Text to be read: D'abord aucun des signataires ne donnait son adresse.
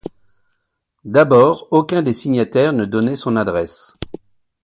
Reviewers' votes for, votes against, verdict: 2, 0, accepted